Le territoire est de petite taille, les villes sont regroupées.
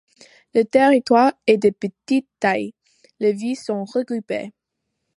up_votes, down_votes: 2, 1